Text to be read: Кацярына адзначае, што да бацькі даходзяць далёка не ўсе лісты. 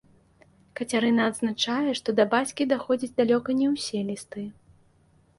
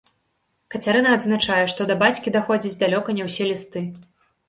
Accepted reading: second